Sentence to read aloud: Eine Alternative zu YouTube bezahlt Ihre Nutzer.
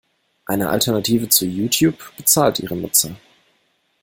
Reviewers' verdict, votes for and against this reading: accepted, 2, 0